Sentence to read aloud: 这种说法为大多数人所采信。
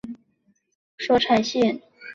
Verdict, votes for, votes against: rejected, 1, 2